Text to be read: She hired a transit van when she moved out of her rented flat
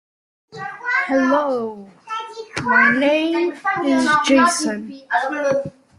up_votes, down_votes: 0, 2